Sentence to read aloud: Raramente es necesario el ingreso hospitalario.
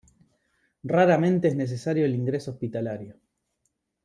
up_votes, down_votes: 2, 0